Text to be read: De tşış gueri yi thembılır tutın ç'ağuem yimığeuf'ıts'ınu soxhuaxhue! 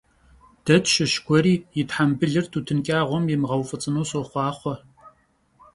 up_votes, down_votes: 2, 0